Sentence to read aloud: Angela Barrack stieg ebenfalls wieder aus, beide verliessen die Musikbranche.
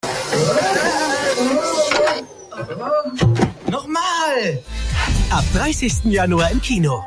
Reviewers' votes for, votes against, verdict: 0, 2, rejected